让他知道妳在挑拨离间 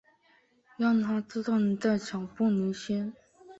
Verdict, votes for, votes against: rejected, 0, 2